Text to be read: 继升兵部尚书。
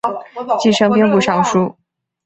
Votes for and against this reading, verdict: 4, 0, accepted